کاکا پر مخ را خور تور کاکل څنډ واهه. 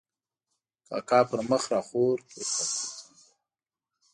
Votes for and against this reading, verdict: 0, 2, rejected